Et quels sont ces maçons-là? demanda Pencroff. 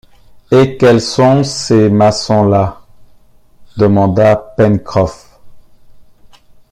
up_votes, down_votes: 2, 0